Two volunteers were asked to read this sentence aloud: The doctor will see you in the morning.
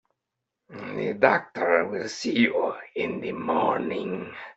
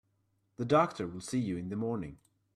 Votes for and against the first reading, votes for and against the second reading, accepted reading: 1, 2, 2, 0, second